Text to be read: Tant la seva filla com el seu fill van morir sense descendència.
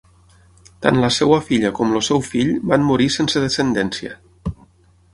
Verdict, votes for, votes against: rejected, 0, 6